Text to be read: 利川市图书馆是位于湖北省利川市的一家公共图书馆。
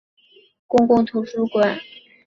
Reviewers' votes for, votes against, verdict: 0, 3, rejected